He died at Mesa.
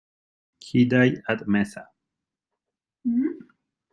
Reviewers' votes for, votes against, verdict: 2, 1, accepted